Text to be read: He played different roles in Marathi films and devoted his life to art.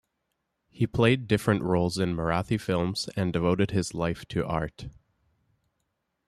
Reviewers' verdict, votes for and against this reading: accepted, 2, 0